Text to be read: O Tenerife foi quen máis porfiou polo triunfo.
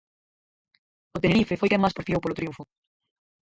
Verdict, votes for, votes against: rejected, 0, 4